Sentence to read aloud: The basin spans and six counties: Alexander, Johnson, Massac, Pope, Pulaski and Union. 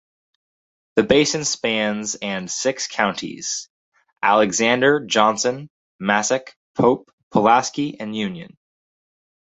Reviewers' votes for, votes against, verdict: 4, 0, accepted